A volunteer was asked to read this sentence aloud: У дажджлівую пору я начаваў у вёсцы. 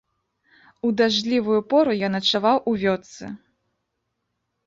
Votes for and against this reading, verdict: 1, 2, rejected